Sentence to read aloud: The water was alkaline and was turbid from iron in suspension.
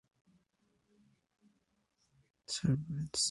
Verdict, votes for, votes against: rejected, 0, 2